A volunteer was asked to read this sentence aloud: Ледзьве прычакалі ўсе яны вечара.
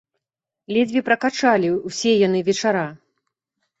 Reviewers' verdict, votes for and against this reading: rejected, 0, 2